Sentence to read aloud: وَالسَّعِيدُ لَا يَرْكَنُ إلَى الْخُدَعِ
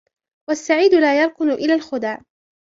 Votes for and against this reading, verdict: 1, 2, rejected